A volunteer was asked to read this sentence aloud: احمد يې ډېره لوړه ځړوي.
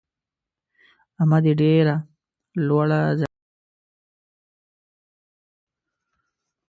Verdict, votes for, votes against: rejected, 0, 2